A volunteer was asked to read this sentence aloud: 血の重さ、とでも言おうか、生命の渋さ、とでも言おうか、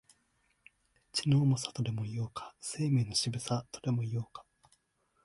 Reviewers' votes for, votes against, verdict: 2, 0, accepted